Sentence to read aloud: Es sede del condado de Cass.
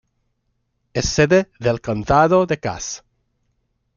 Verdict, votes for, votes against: accepted, 2, 1